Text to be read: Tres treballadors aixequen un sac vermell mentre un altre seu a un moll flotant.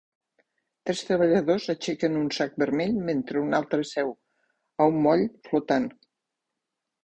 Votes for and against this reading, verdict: 3, 0, accepted